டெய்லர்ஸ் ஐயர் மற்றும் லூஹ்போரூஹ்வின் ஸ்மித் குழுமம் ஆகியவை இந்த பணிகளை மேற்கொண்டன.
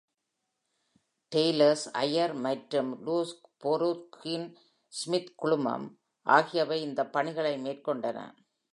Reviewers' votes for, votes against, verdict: 2, 0, accepted